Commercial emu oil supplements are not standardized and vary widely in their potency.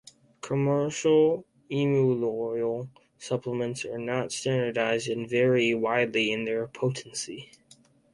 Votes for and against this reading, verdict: 4, 0, accepted